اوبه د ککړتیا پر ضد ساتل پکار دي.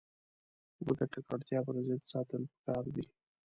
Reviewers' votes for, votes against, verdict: 2, 0, accepted